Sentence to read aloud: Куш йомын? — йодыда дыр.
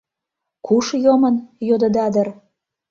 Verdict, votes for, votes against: accepted, 2, 0